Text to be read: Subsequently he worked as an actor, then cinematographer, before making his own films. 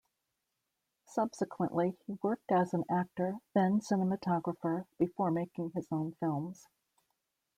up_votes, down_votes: 2, 0